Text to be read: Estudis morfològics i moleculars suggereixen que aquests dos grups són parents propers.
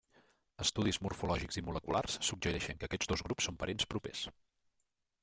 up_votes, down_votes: 1, 2